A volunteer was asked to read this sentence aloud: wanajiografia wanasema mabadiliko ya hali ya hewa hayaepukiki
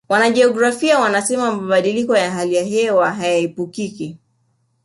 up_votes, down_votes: 2, 0